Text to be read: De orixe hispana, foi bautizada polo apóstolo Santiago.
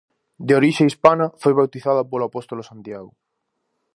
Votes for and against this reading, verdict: 0, 2, rejected